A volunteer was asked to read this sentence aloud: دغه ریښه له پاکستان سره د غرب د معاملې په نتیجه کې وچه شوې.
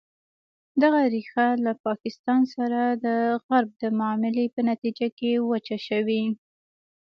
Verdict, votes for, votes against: rejected, 1, 2